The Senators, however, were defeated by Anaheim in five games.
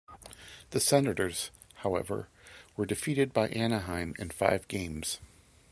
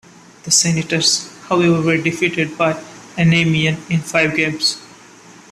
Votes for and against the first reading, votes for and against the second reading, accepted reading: 2, 0, 0, 2, first